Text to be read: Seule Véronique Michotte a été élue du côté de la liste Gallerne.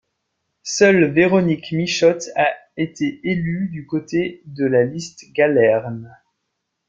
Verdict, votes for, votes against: accepted, 2, 0